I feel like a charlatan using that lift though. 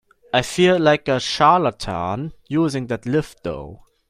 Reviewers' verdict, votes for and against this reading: accepted, 2, 0